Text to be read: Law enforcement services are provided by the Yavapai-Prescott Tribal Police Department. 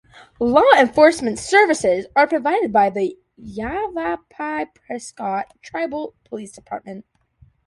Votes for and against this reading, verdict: 2, 0, accepted